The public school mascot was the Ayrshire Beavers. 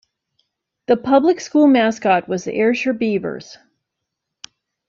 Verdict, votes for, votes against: rejected, 0, 2